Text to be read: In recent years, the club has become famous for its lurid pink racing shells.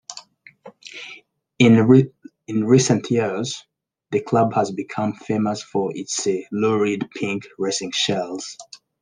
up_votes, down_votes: 1, 2